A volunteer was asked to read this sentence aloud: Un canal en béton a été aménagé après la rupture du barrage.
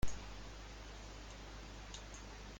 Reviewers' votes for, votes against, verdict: 0, 2, rejected